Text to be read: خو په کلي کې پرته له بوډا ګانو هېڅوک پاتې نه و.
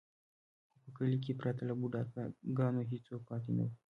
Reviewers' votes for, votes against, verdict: 2, 0, accepted